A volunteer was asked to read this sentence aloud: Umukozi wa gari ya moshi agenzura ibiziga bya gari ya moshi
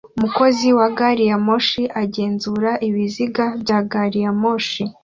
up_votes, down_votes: 2, 0